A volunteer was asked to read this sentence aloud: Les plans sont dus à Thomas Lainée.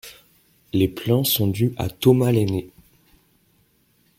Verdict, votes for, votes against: accepted, 2, 0